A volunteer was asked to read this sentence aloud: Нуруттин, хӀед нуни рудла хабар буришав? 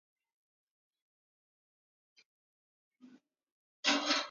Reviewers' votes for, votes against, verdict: 0, 2, rejected